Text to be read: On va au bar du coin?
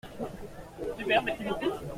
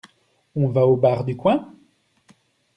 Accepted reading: second